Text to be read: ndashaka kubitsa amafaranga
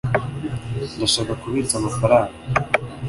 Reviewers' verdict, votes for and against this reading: accepted, 2, 0